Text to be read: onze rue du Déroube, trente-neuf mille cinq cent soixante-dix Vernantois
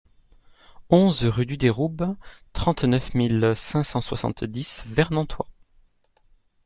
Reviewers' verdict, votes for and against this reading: accepted, 2, 0